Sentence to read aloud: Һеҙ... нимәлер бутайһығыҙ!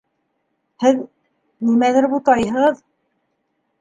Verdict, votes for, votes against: accepted, 4, 0